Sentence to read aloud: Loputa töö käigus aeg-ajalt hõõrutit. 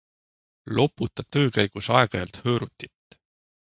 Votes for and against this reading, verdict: 2, 0, accepted